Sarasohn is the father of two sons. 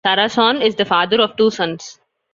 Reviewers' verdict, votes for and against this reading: accepted, 2, 0